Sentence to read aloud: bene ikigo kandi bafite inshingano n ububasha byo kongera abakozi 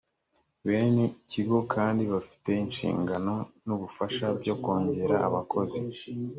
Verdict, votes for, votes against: rejected, 2, 3